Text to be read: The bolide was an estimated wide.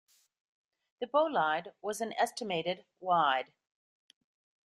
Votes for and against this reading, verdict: 1, 2, rejected